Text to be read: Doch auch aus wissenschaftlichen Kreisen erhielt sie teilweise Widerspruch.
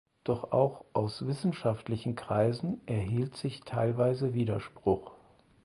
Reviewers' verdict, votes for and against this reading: rejected, 0, 4